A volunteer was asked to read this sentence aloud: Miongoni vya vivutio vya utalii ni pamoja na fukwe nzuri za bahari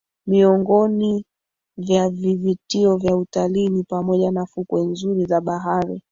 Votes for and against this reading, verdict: 0, 2, rejected